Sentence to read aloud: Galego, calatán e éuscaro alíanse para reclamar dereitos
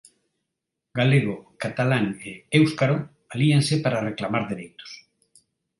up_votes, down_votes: 0, 2